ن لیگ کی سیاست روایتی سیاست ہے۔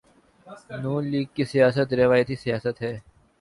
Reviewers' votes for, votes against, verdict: 2, 2, rejected